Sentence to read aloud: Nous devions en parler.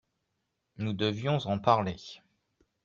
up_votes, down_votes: 3, 0